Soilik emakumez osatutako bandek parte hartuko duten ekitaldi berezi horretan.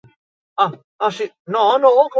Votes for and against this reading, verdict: 0, 4, rejected